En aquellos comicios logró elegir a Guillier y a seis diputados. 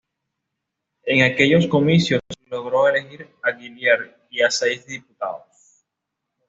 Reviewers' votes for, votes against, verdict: 2, 0, accepted